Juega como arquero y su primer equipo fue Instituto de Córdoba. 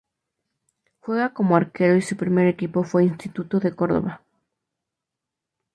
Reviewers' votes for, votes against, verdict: 2, 0, accepted